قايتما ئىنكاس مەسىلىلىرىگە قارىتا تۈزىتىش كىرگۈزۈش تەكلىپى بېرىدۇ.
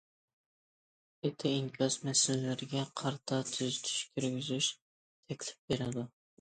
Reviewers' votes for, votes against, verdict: 0, 2, rejected